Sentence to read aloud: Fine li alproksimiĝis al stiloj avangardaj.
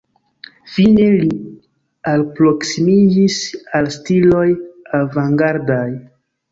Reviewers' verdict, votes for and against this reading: rejected, 0, 2